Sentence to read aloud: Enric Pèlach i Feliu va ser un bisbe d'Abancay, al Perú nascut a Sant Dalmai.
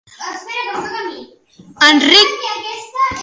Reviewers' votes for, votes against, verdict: 0, 2, rejected